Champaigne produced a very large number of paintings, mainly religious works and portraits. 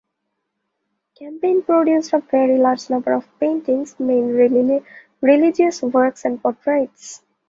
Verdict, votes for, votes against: rejected, 1, 2